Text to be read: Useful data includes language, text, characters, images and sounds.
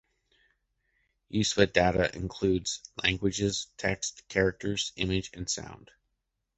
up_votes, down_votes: 0, 2